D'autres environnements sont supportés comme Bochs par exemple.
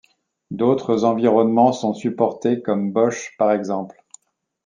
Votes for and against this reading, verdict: 2, 0, accepted